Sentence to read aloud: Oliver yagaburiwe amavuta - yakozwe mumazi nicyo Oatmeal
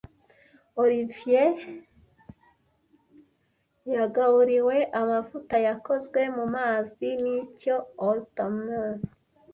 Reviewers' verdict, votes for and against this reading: rejected, 0, 2